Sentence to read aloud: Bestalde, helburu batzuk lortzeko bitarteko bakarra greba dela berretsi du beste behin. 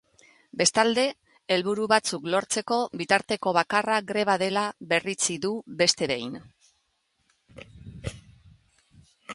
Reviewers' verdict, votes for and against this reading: rejected, 1, 2